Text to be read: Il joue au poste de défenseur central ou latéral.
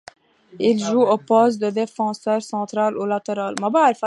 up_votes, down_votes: 0, 2